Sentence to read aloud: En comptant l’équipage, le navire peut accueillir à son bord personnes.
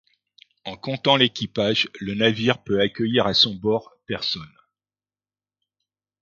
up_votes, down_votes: 2, 0